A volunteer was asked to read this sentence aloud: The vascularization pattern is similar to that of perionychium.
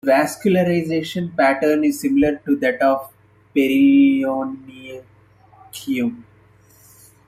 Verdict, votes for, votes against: rejected, 0, 2